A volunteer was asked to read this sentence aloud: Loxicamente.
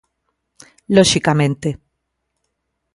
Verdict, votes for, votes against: accepted, 2, 0